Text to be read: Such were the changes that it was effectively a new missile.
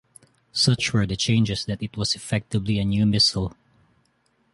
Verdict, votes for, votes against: rejected, 1, 2